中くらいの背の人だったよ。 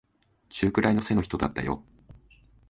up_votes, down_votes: 2, 0